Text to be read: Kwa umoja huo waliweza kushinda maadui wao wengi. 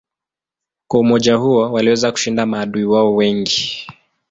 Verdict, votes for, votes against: accepted, 2, 0